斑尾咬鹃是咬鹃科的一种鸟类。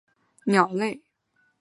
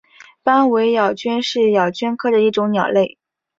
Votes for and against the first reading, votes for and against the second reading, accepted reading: 1, 2, 2, 0, second